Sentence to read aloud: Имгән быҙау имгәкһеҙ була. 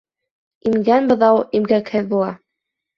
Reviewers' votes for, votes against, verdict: 1, 2, rejected